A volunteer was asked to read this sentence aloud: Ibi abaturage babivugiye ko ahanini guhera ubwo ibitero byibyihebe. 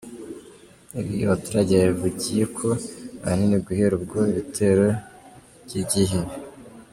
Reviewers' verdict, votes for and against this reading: accepted, 2, 0